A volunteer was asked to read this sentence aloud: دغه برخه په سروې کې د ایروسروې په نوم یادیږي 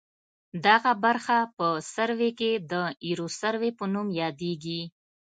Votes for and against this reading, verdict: 3, 0, accepted